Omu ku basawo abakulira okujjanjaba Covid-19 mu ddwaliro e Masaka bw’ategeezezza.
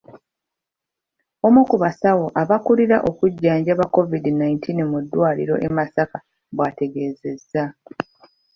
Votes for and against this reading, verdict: 0, 2, rejected